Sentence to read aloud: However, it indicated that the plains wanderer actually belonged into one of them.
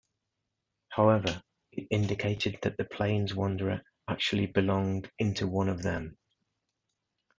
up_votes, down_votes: 2, 0